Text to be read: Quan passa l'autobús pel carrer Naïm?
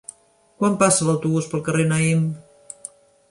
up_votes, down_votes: 3, 0